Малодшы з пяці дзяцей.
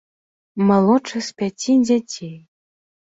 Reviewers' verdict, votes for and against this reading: accepted, 2, 0